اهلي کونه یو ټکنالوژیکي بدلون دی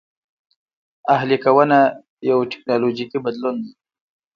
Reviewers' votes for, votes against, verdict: 0, 2, rejected